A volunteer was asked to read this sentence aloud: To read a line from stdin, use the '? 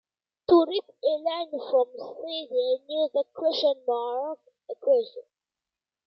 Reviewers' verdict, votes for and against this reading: rejected, 0, 2